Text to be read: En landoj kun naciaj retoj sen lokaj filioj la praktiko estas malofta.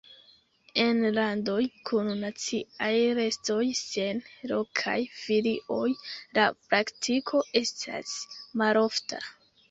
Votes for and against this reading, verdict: 3, 1, accepted